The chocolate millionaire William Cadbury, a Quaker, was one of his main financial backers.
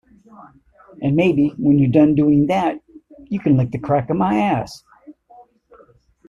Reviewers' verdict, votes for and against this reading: rejected, 0, 2